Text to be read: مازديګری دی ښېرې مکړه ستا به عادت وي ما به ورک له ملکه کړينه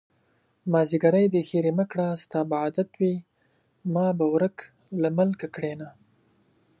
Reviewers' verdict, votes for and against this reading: accepted, 2, 0